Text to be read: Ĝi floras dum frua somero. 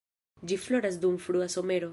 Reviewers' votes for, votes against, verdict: 0, 2, rejected